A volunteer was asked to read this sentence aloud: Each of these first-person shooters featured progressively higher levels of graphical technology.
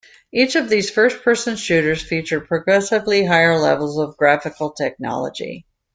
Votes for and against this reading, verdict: 2, 0, accepted